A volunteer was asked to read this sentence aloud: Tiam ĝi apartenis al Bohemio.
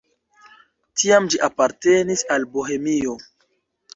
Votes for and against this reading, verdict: 2, 0, accepted